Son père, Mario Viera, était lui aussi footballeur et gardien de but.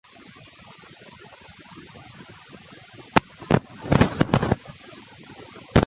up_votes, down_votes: 0, 2